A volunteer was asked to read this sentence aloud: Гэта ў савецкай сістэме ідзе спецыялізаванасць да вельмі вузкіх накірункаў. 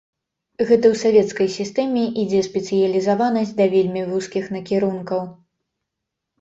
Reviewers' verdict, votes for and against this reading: accepted, 2, 0